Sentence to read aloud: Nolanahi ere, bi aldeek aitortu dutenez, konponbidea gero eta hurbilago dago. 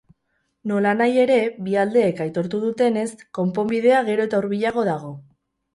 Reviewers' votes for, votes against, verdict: 2, 2, rejected